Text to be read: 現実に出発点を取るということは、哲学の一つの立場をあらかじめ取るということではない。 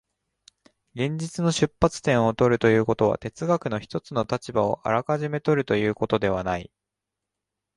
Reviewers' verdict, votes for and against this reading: rejected, 1, 2